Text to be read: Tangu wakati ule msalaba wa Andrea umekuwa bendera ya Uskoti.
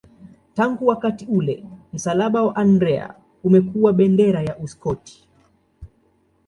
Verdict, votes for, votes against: accepted, 2, 0